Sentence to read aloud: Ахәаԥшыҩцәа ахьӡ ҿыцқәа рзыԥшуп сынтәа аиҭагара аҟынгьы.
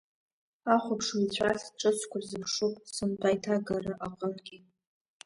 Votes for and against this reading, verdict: 1, 2, rejected